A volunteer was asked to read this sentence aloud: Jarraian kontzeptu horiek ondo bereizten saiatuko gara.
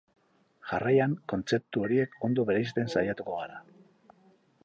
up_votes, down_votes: 2, 2